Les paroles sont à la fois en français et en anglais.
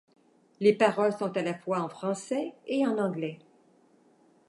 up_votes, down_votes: 2, 0